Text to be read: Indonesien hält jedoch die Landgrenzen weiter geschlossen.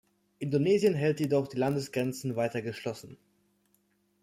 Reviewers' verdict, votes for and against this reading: rejected, 1, 2